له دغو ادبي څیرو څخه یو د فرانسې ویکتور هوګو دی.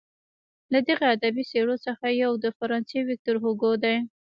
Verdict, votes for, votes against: rejected, 1, 2